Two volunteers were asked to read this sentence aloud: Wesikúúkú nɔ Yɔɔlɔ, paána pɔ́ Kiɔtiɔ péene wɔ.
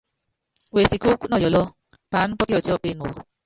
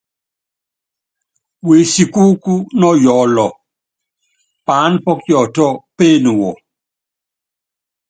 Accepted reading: second